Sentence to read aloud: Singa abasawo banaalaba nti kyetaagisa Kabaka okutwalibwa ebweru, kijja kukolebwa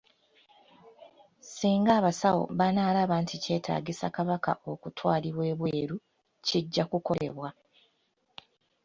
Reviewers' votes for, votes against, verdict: 2, 1, accepted